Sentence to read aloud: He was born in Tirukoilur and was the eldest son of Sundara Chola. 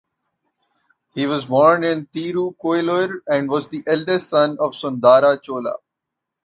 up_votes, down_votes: 0, 2